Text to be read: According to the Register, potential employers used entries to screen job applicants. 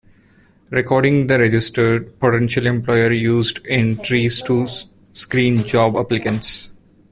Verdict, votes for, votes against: rejected, 1, 2